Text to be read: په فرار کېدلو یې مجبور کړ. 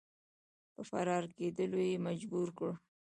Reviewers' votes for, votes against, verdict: 2, 0, accepted